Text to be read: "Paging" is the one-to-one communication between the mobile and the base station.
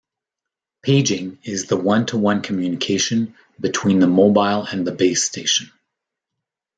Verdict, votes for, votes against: accepted, 2, 0